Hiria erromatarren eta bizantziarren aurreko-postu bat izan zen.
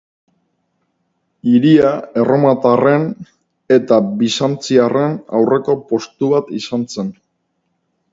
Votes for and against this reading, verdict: 2, 0, accepted